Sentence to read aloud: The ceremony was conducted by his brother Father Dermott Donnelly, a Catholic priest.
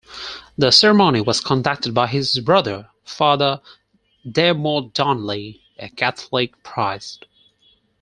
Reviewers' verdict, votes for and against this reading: rejected, 0, 4